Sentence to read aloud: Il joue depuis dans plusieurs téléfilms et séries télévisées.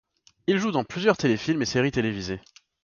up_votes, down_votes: 1, 2